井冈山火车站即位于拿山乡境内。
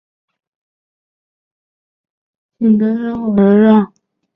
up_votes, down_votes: 0, 3